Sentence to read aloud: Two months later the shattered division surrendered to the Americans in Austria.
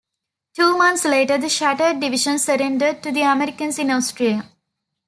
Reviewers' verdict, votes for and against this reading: accepted, 2, 0